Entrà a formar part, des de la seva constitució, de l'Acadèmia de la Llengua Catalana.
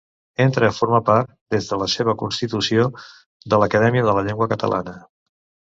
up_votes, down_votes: 1, 2